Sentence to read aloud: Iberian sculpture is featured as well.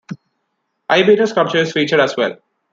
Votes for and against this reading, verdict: 2, 1, accepted